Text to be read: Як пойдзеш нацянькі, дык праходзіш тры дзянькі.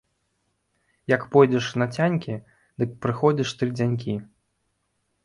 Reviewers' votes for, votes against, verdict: 1, 3, rejected